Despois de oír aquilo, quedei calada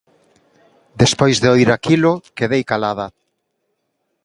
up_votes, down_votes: 2, 0